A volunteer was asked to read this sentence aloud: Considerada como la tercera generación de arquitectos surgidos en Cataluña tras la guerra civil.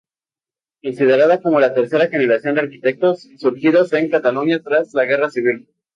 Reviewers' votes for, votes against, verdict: 0, 2, rejected